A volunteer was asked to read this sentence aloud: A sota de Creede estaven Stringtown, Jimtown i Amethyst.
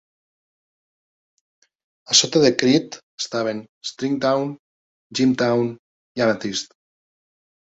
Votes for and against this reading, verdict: 2, 1, accepted